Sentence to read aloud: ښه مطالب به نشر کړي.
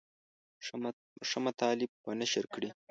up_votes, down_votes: 1, 2